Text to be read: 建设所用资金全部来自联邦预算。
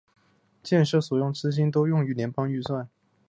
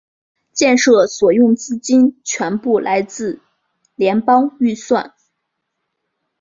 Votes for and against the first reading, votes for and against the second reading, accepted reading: 1, 5, 2, 0, second